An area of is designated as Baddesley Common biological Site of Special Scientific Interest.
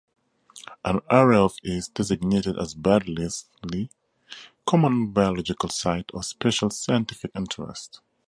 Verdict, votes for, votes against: rejected, 0, 2